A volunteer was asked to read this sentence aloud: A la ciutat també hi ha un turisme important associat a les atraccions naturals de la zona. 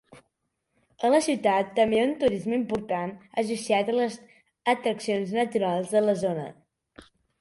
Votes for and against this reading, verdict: 1, 2, rejected